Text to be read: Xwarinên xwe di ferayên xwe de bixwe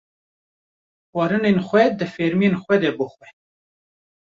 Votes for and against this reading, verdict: 0, 2, rejected